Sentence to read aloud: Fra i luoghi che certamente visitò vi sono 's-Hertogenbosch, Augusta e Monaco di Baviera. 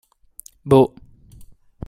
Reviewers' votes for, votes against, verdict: 0, 2, rejected